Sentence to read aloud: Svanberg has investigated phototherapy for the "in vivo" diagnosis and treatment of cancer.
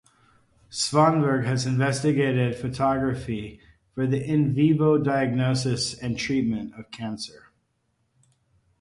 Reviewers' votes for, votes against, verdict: 0, 2, rejected